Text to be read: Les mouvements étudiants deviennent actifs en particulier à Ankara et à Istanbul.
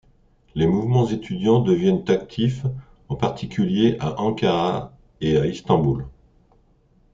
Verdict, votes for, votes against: accepted, 2, 0